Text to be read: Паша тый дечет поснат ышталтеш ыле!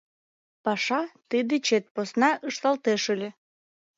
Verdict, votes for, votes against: rejected, 1, 2